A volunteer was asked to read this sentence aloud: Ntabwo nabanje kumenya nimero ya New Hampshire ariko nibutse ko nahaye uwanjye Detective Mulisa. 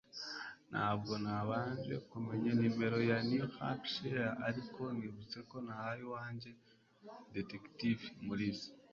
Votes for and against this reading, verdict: 2, 0, accepted